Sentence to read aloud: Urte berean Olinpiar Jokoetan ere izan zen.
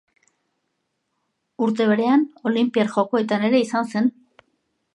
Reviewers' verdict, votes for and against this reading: accepted, 2, 0